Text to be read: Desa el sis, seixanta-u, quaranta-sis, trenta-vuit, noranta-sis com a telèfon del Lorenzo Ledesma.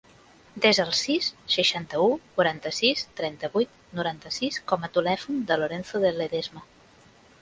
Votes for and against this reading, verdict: 1, 2, rejected